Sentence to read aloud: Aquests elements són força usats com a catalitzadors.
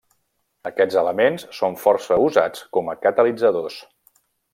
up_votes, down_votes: 3, 0